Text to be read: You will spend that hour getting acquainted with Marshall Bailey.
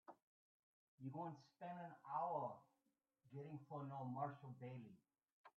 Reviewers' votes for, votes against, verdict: 0, 2, rejected